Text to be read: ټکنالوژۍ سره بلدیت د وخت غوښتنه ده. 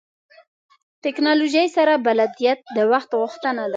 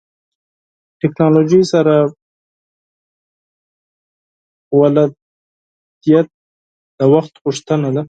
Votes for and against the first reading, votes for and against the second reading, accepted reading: 2, 1, 4, 8, first